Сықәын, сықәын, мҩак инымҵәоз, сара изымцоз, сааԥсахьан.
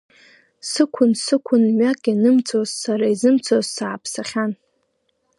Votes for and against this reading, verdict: 1, 2, rejected